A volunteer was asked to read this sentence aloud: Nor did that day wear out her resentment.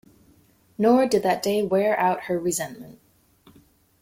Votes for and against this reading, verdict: 2, 1, accepted